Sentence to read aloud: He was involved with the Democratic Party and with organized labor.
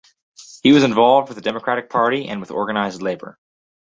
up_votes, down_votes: 2, 0